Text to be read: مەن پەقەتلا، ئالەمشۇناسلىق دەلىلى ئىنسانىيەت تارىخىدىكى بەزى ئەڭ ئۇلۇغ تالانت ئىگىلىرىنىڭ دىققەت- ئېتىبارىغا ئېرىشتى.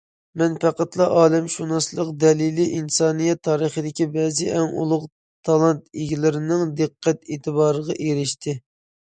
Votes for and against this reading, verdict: 2, 0, accepted